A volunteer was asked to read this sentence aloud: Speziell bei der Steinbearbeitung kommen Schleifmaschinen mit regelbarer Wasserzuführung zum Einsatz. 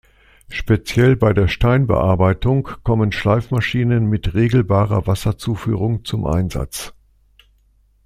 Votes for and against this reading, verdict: 2, 0, accepted